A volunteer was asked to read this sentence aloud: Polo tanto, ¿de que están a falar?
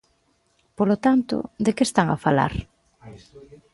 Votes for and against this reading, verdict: 2, 0, accepted